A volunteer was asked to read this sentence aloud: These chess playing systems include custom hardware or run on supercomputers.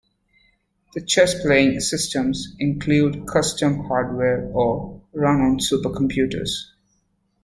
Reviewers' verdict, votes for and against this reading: rejected, 0, 2